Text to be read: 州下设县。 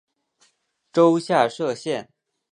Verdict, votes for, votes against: accepted, 5, 0